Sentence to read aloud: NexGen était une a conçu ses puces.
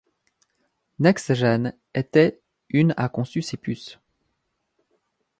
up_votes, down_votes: 2, 0